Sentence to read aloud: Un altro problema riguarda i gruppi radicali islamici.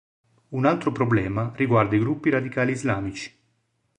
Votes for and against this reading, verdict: 3, 0, accepted